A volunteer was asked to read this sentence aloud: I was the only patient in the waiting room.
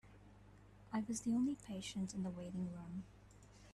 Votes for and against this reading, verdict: 2, 0, accepted